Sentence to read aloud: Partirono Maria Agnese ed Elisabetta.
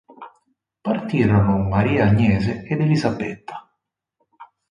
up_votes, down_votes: 4, 2